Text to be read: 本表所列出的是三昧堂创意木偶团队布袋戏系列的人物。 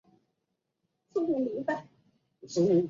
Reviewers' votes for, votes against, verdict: 0, 5, rejected